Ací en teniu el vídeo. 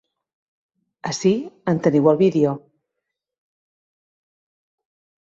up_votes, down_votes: 3, 0